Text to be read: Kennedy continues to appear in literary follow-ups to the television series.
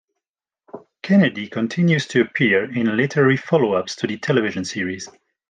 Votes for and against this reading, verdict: 2, 0, accepted